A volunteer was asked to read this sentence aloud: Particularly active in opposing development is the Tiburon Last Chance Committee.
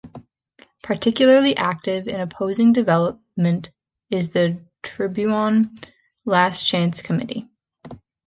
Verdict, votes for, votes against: accepted, 3, 2